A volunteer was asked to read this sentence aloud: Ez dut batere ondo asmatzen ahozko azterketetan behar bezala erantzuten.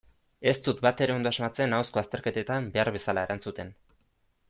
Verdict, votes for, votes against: accepted, 2, 0